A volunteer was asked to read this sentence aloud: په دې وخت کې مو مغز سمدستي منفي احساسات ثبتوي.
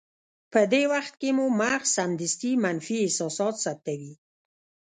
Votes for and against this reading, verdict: 1, 2, rejected